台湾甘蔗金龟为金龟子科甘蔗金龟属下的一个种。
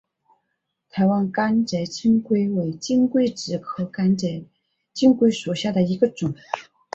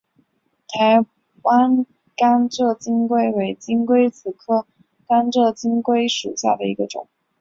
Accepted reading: second